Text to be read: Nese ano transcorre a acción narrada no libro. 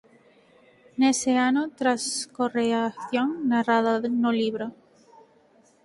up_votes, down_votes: 0, 4